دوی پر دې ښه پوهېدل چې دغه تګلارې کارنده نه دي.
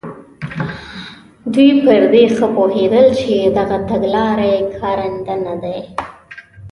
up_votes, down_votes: 2, 1